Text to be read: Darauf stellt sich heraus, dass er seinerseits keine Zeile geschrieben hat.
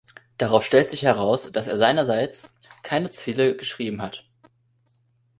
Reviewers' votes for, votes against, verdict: 0, 2, rejected